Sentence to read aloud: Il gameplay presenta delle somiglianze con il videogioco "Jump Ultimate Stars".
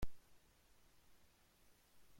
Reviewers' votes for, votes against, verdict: 1, 2, rejected